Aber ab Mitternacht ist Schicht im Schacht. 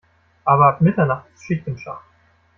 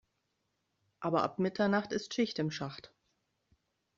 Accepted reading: second